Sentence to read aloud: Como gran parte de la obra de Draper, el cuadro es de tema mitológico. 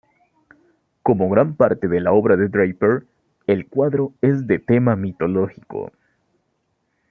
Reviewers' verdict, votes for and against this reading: rejected, 1, 2